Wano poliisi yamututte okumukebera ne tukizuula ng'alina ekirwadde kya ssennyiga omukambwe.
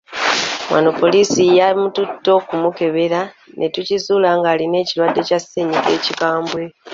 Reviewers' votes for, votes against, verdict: 0, 2, rejected